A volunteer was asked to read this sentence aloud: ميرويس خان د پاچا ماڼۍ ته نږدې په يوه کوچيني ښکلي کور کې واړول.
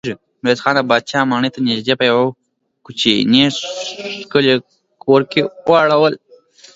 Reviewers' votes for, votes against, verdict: 1, 2, rejected